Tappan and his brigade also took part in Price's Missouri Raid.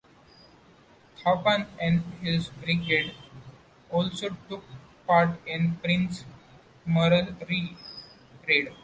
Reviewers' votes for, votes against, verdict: 1, 2, rejected